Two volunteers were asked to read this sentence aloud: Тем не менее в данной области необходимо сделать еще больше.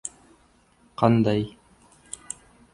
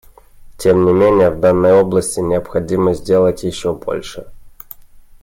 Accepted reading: second